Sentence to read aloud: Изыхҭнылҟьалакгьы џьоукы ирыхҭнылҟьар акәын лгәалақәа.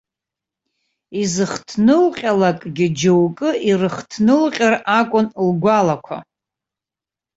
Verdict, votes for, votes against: accepted, 2, 0